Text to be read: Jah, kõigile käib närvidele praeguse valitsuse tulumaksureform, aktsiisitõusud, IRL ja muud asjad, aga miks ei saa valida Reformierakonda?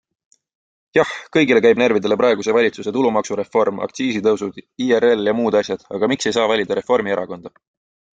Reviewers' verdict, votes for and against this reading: accepted, 2, 0